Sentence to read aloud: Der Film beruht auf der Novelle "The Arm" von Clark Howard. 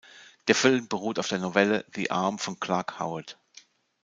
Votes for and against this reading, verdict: 2, 0, accepted